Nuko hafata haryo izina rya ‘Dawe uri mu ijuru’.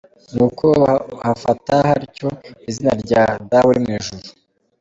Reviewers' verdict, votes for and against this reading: rejected, 0, 3